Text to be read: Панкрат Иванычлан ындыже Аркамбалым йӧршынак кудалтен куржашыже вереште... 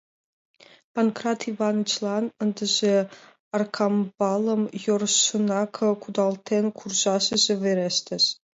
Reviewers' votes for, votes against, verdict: 3, 2, accepted